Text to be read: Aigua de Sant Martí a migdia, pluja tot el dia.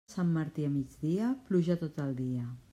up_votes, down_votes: 0, 2